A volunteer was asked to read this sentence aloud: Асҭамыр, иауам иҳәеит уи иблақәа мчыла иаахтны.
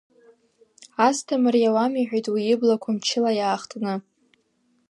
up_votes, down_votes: 2, 1